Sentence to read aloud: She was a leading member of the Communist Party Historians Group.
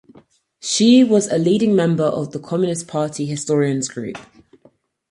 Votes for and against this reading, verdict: 4, 0, accepted